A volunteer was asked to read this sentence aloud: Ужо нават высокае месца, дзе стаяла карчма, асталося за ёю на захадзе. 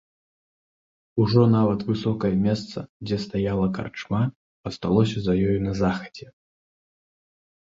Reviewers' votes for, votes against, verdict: 2, 0, accepted